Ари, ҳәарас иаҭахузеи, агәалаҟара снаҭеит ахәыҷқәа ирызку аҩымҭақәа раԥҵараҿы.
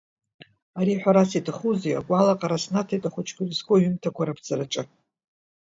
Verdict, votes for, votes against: accepted, 2, 0